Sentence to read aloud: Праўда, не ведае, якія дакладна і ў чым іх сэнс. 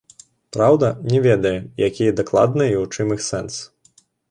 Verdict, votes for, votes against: accepted, 2, 1